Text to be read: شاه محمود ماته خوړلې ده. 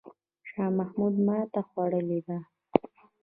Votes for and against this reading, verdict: 3, 1, accepted